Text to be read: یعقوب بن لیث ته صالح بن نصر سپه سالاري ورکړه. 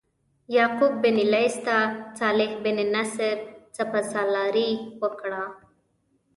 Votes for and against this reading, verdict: 0, 2, rejected